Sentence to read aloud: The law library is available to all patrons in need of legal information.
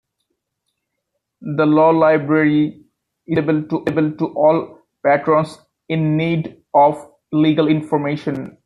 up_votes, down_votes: 1, 2